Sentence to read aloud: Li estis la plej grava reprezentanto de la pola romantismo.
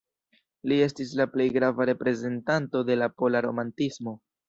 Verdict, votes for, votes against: rejected, 0, 2